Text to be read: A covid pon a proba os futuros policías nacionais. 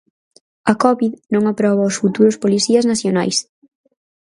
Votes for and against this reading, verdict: 2, 4, rejected